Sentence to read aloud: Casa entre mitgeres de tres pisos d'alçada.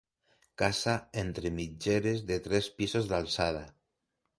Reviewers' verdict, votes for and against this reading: accepted, 2, 0